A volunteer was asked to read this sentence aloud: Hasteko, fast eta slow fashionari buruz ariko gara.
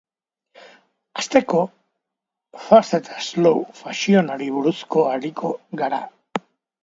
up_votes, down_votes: 0, 2